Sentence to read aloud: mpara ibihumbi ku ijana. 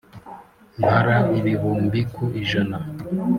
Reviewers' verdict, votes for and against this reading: accepted, 2, 1